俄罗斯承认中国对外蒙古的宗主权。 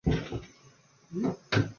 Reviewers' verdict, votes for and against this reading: rejected, 0, 2